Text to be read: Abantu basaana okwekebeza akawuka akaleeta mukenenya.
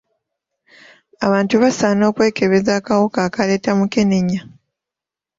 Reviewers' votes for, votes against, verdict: 2, 0, accepted